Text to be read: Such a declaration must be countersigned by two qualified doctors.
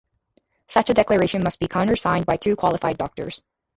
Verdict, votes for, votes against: accepted, 2, 0